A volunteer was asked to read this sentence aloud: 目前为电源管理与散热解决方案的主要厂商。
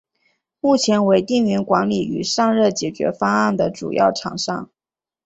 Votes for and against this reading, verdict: 2, 0, accepted